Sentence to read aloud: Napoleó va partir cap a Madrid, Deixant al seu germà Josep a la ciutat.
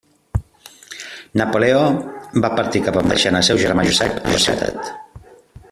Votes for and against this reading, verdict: 0, 2, rejected